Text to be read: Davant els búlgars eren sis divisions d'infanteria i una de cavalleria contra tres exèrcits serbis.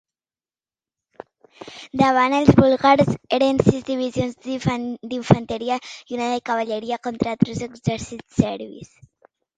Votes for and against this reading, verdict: 1, 3, rejected